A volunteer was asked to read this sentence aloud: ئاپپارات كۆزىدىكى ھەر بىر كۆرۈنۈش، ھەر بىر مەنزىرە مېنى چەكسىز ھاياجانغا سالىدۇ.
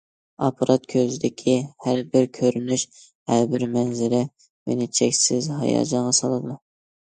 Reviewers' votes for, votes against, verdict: 2, 0, accepted